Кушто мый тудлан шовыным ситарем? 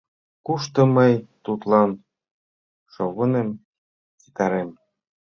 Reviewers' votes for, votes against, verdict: 2, 1, accepted